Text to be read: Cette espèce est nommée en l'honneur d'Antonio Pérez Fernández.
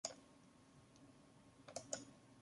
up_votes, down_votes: 0, 2